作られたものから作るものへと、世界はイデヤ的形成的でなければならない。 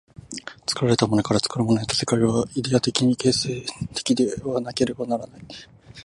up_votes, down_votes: 0, 2